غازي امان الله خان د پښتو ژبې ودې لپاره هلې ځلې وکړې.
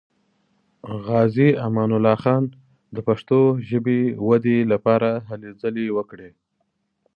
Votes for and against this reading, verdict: 2, 0, accepted